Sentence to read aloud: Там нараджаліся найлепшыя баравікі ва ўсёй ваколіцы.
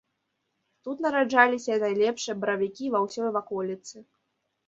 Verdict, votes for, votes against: rejected, 1, 4